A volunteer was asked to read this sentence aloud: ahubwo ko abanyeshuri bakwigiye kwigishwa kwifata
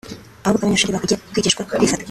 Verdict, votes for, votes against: rejected, 1, 3